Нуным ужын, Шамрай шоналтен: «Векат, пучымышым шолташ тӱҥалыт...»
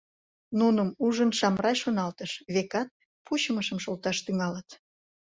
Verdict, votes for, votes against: rejected, 0, 2